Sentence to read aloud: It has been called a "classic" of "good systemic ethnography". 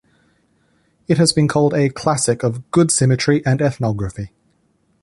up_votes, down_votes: 1, 2